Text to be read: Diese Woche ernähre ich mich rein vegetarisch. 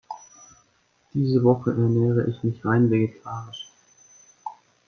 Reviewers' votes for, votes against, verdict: 1, 2, rejected